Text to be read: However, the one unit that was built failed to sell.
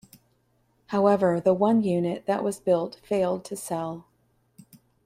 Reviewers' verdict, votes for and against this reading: accepted, 2, 0